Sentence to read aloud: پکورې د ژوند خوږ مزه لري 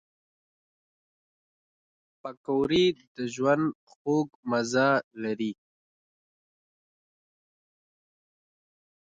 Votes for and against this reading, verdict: 0, 2, rejected